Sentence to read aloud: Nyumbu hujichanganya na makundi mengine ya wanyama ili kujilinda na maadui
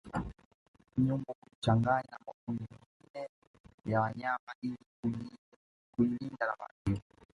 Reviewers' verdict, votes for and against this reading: rejected, 0, 2